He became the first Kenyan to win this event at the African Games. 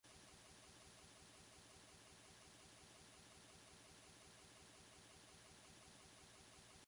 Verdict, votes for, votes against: rejected, 0, 2